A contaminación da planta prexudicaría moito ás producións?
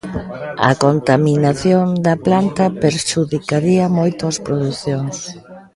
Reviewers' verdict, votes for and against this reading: rejected, 0, 2